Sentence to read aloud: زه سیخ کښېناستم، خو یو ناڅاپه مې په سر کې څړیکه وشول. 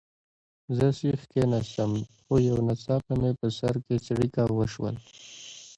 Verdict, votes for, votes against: accepted, 2, 1